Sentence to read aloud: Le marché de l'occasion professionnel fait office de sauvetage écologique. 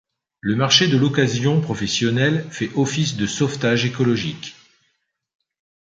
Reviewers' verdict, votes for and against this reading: accepted, 2, 0